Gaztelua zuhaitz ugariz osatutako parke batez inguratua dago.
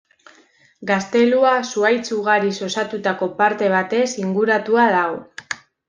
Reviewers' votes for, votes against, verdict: 1, 2, rejected